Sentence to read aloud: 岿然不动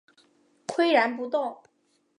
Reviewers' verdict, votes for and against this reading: accepted, 2, 0